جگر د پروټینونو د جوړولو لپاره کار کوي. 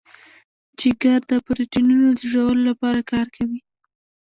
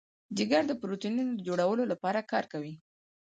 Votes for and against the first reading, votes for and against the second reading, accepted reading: 0, 2, 4, 2, second